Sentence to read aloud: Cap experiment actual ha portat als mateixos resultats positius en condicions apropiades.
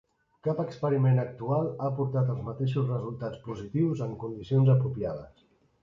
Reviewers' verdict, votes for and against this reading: accepted, 2, 0